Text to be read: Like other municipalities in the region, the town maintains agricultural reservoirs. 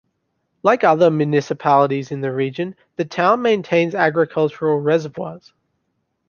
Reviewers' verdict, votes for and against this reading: accepted, 2, 0